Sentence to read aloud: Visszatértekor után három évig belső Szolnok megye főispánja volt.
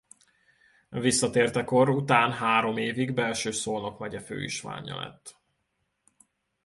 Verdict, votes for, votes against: rejected, 0, 2